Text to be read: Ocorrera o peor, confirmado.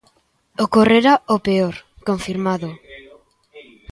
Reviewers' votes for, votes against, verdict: 1, 2, rejected